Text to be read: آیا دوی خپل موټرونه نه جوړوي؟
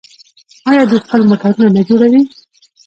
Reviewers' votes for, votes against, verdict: 1, 2, rejected